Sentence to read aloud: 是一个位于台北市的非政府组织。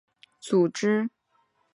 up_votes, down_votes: 0, 2